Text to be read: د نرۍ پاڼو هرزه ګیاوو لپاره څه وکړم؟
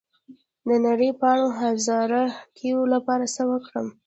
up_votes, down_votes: 0, 2